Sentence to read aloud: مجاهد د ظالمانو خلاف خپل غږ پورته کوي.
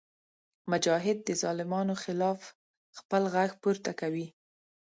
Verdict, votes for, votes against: accepted, 2, 0